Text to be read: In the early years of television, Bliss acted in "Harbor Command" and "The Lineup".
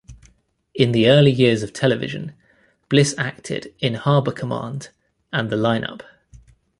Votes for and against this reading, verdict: 2, 0, accepted